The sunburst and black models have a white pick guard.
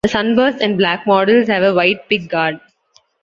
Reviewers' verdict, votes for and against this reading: accepted, 2, 0